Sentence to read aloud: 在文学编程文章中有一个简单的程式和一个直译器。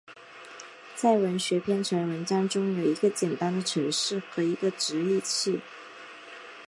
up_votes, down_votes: 2, 0